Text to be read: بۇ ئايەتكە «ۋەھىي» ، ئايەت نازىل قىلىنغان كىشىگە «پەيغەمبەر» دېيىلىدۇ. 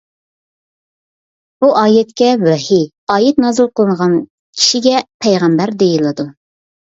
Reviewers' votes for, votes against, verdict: 2, 0, accepted